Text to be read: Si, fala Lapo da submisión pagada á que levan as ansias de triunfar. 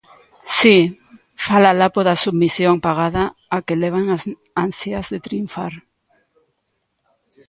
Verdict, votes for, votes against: rejected, 0, 2